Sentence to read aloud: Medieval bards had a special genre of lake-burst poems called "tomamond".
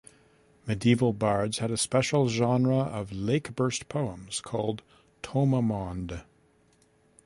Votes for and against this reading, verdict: 2, 0, accepted